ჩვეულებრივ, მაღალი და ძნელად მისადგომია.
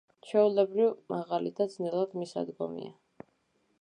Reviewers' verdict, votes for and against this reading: accepted, 2, 0